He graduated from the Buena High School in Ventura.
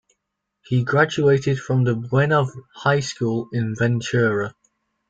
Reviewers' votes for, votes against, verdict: 2, 1, accepted